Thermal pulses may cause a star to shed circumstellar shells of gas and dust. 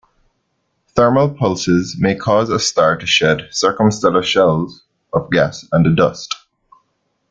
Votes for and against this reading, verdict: 1, 2, rejected